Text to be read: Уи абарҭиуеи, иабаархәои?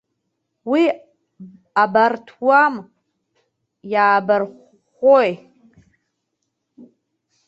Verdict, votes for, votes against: rejected, 0, 2